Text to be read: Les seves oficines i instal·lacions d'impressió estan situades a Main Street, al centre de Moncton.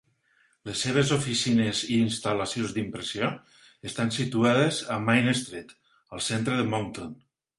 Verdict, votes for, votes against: accepted, 2, 0